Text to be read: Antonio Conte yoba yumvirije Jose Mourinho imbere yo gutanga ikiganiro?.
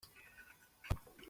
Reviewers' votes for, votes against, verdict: 0, 2, rejected